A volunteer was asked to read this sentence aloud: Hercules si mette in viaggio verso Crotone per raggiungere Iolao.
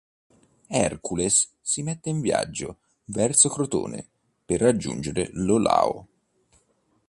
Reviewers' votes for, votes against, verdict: 0, 2, rejected